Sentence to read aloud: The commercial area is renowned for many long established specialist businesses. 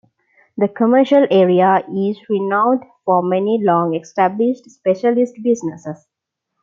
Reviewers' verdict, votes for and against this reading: accepted, 2, 0